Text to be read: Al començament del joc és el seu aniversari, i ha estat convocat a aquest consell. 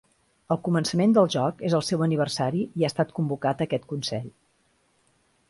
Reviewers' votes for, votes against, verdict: 2, 0, accepted